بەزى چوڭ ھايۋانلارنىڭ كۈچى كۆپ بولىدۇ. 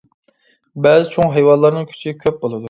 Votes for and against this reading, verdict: 2, 0, accepted